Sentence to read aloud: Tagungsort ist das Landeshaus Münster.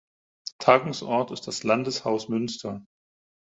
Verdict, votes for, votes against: accepted, 4, 0